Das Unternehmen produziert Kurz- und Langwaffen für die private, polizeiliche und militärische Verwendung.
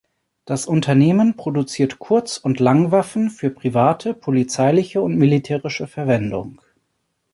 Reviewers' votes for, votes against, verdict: 0, 2, rejected